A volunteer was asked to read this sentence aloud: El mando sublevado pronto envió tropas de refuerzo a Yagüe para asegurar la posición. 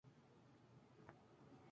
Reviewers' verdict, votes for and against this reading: accepted, 2, 0